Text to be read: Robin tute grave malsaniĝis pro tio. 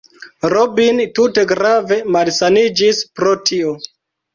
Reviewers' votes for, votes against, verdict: 0, 2, rejected